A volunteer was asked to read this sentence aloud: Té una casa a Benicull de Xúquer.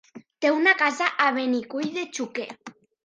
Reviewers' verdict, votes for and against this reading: rejected, 0, 2